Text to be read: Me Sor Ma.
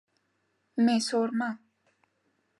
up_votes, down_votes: 2, 0